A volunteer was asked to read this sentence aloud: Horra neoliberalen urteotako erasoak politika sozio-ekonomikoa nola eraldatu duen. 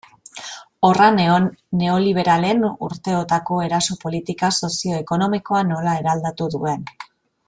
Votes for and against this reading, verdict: 0, 2, rejected